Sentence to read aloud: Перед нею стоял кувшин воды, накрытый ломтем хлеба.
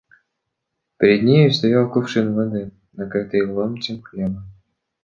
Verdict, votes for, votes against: accepted, 2, 0